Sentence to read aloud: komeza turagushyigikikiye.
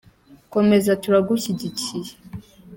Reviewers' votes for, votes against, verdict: 3, 0, accepted